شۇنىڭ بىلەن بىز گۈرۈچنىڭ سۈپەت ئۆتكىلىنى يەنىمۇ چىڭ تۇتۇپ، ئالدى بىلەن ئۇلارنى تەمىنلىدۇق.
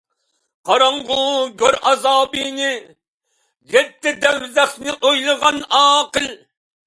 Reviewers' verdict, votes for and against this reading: rejected, 0, 2